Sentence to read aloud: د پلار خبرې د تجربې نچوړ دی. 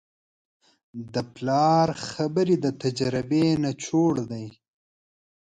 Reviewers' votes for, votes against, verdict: 3, 0, accepted